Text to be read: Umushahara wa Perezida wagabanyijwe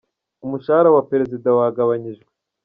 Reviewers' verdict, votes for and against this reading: accepted, 2, 1